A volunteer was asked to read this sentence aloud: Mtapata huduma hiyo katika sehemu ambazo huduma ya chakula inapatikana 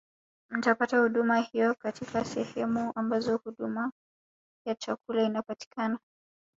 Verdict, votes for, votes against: rejected, 1, 2